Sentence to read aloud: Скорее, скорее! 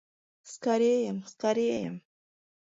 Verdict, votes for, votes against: rejected, 1, 2